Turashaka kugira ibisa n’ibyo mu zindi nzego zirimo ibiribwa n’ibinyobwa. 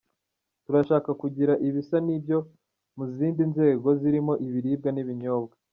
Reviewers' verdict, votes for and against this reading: accepted, 2, 0